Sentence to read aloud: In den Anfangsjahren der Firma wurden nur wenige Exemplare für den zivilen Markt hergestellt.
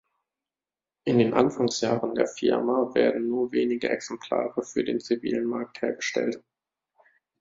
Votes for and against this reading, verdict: 1, 2, rejected